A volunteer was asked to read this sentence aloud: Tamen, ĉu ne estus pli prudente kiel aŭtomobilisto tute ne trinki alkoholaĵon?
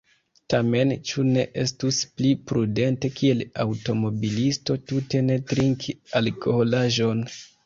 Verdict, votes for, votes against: accepted, 2, 0